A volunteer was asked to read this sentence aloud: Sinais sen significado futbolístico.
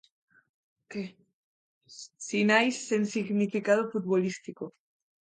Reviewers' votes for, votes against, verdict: 0, 2, rejected